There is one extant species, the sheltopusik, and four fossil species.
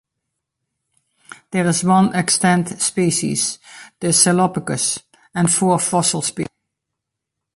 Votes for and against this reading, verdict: 1, 2, rejected